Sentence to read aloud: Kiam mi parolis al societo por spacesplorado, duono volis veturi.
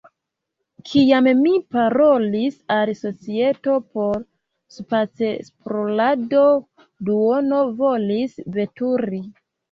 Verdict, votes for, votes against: rejected, 0, 2